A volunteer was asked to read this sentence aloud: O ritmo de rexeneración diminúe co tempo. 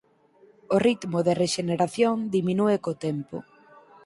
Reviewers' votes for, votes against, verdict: 4, 0, accepted